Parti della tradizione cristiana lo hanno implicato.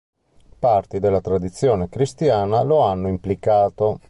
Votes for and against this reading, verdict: 2, 0, accepted